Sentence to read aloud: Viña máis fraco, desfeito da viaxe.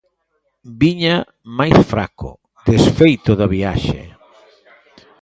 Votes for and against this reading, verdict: 0, 2, rejected